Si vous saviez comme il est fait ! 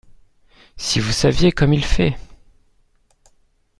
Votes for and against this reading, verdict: 0, 2, rejected